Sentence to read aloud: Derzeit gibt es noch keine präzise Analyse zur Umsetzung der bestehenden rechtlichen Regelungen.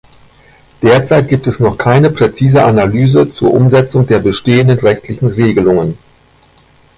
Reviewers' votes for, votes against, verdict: 1, 2, rejected